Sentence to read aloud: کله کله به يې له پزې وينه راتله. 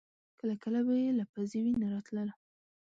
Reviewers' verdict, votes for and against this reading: accepted, 2, 0